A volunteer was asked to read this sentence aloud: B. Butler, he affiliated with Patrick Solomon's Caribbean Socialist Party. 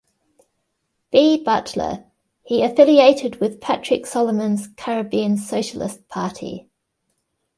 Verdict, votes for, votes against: accepted, 2, 0